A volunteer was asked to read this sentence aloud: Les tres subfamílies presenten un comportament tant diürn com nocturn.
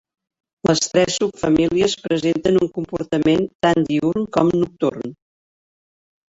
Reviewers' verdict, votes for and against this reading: rejected, 0, 2